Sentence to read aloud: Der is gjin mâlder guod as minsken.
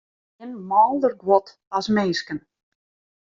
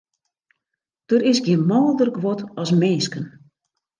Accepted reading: second